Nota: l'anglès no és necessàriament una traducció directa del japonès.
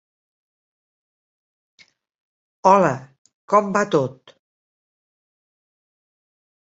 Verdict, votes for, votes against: rejected, 0, 2